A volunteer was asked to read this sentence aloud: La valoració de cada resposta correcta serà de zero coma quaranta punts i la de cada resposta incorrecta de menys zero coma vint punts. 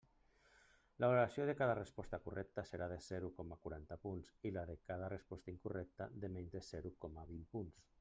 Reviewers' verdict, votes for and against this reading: rejected, 1, 2